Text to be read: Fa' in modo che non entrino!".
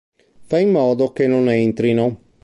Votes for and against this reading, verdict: 2, 0, accepted